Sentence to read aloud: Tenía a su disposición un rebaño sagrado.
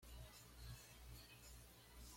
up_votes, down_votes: 1, 2